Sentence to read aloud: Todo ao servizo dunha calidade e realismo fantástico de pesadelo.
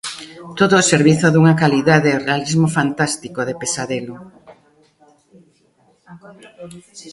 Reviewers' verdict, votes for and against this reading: rejected, 1, 2